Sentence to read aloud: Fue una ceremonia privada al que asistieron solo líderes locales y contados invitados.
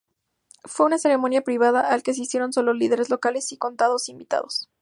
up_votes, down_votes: 0, 2